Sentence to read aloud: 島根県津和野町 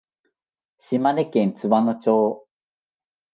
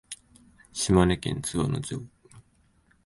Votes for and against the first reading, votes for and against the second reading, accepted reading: 20, 2, 0, 2, first